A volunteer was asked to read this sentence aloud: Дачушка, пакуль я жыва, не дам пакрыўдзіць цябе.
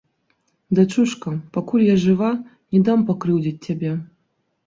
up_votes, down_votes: 3, 0